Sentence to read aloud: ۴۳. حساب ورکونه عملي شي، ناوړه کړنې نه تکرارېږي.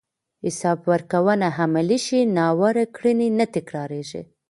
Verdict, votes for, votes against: rejected, 0, 2